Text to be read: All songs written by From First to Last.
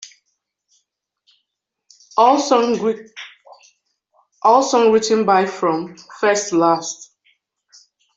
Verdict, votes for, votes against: rejected, 1, 2